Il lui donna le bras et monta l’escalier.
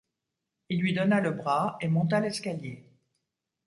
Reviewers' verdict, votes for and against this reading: accepted, 2, 0